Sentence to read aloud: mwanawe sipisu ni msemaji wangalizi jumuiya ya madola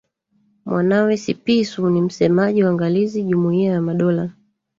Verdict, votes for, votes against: rejected, 1, 2